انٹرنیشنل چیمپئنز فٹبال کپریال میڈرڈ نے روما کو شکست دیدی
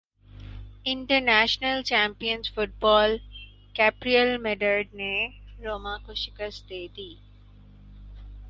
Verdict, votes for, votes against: accepted, 4, 0